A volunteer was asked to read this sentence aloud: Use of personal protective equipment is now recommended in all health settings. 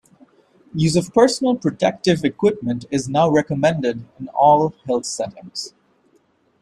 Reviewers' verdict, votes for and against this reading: rejected, 2, 3